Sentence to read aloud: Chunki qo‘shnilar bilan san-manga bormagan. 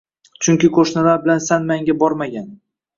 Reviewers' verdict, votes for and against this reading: accepted, 2, 0